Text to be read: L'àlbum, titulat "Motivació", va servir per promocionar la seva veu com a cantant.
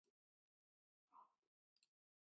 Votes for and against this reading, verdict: 0, 2, rejected